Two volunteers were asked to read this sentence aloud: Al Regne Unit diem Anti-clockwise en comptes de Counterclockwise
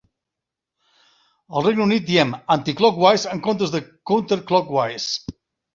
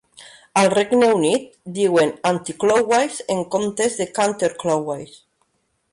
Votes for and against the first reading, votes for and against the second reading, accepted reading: 2, 1, 2, 3, first